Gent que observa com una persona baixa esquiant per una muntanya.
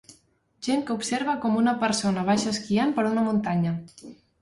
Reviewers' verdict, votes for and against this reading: accepted, 2, 0